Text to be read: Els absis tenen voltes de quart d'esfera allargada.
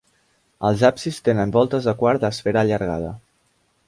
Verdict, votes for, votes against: accepted, 2, 0